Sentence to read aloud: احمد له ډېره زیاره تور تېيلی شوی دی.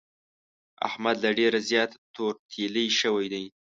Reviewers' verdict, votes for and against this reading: rejected, 0, 2